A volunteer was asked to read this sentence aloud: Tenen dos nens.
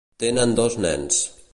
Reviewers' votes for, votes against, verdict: 3, 0, accepted